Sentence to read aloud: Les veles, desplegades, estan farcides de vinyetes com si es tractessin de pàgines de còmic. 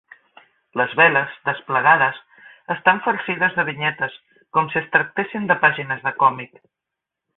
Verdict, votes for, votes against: rejected, 1, 2